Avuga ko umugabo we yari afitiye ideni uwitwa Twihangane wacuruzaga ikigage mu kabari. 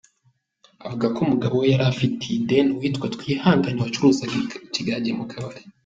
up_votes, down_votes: 3, 1